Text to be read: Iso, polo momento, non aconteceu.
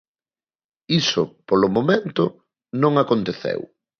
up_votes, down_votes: 3, 0